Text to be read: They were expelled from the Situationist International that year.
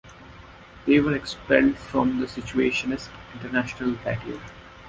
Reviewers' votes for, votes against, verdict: 2, 0, accepted